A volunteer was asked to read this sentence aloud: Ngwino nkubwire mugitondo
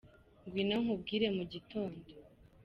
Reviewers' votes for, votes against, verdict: 2, 0, accepted